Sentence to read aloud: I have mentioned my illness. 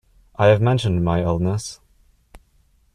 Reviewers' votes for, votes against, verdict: 3, 0, accepted